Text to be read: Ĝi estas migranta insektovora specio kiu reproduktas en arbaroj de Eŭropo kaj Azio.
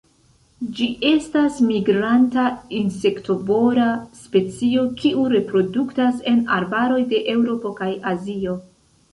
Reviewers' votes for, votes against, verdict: 2, 0, accepted